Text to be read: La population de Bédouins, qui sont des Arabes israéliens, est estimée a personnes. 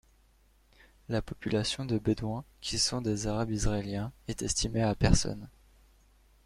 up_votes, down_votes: 2, 0